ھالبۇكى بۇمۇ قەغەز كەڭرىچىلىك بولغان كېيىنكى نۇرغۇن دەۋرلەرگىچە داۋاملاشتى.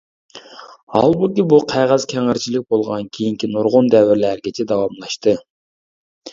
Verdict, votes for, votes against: rejected, 0, 2